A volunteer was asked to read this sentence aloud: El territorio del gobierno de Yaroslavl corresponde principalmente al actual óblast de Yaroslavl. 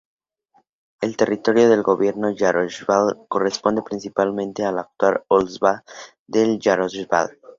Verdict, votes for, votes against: rejected, 0, 2